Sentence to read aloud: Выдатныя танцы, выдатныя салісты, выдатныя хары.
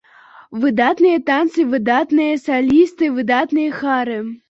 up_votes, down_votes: 0, 2